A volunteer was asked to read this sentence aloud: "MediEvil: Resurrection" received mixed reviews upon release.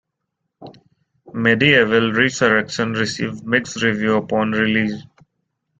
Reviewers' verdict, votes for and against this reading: rejected, 1, 2